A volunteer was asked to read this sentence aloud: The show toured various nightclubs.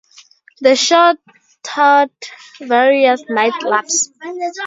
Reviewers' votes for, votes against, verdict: 2, 0, accepted